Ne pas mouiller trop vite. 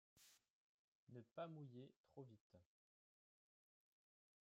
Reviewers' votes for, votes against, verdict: 2, 3, rejected